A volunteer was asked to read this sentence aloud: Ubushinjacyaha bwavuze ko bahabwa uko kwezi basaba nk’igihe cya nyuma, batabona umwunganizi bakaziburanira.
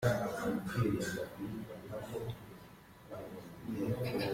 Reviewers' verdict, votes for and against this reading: rejected, 0, 3